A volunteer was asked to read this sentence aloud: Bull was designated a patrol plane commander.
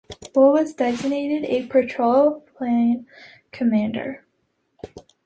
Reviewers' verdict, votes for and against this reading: accepted, 2, 0